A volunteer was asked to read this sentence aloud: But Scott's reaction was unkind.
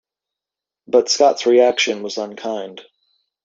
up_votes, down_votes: 2, 0